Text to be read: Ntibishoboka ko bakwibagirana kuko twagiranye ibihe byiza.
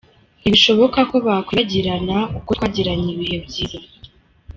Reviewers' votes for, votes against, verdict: 2, 3, rejected